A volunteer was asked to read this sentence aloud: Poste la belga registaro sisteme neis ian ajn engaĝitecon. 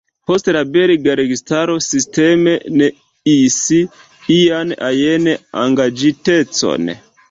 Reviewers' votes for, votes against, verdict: 0, 3, rejected